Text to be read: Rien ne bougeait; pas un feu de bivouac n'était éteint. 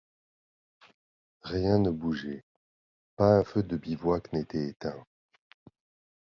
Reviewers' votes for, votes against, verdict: 2, 0, accepted